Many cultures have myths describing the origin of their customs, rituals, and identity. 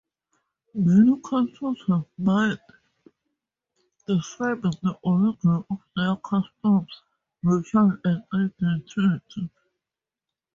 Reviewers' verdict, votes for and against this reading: rejected, 0, 2